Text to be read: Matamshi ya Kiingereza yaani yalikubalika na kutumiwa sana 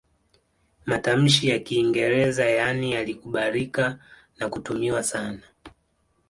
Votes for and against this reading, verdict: 2, 0, accepted